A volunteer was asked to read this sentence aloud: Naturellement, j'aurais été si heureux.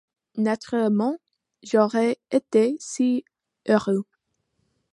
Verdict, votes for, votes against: accepted, 2, 1